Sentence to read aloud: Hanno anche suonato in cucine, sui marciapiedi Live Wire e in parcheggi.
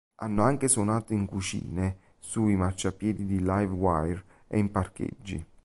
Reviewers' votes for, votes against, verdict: 1, 2, rejected